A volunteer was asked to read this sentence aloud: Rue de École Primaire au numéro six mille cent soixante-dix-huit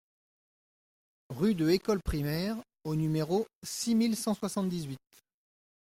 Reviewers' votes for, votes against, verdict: 2, 0, accepted